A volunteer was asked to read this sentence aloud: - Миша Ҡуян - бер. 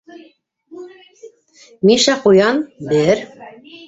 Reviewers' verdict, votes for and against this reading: accepted, 2, 1